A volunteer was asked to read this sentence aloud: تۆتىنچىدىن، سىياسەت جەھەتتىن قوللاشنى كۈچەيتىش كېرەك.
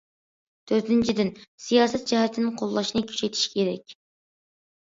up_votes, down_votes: 2, 0